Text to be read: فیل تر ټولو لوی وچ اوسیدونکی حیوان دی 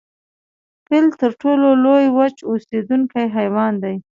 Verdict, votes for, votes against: accepted, 2, 0